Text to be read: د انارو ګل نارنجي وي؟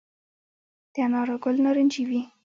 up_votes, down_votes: 2, 0